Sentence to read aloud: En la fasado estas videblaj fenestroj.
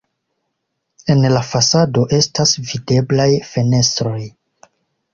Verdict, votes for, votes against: accepted, 2, 0